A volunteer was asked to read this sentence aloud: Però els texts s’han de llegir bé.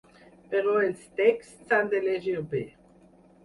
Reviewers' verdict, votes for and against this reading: rejected, 2, 4